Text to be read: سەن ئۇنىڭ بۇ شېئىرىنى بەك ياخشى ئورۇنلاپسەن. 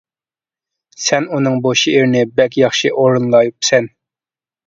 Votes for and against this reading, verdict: 1, 2, rejected